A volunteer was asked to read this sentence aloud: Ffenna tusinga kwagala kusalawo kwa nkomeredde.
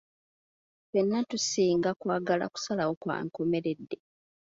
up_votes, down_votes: 2, 0